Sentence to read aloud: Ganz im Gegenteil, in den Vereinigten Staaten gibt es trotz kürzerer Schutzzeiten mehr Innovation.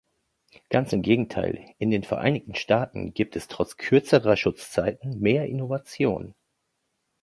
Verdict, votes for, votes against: accepted, 2, 0